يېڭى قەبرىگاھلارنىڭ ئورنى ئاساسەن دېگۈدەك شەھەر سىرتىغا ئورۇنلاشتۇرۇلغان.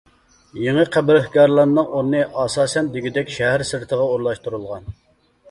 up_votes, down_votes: 0, 2